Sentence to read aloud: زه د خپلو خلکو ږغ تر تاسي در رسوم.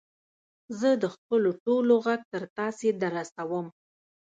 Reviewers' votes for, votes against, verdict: 0, 2, rejected